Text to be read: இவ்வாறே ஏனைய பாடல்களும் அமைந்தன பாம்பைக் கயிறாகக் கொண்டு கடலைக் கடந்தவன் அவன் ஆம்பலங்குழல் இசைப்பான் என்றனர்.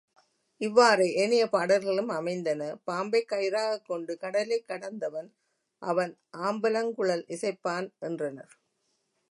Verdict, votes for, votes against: accepted, 2, 0